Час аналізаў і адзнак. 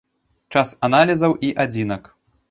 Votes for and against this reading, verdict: 1, 2, rejected